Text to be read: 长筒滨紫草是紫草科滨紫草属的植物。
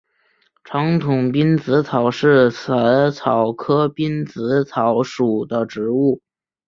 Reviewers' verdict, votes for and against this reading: accepted, 5, 1